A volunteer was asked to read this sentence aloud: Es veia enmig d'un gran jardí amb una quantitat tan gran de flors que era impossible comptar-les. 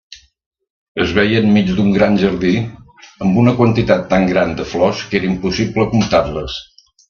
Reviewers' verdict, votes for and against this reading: accepted, 2, 0